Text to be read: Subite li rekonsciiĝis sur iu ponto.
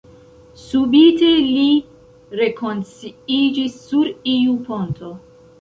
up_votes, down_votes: 0, 2